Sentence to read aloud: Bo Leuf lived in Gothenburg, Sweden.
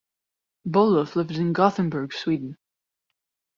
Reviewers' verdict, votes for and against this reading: accepted, 2, 1